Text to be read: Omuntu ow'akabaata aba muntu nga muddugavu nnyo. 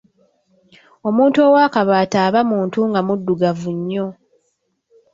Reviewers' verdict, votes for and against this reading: accepted, 2, 0